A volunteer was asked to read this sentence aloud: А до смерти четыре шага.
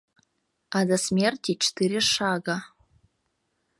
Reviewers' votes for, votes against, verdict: 1, 2, rejected